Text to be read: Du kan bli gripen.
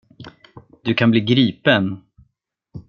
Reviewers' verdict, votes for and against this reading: accepted, 2, 0